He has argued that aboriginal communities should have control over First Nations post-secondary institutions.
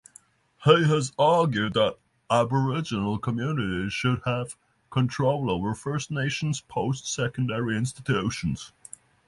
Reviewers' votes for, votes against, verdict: 6, 0, accepted